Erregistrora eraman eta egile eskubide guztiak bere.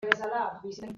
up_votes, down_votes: 0, 2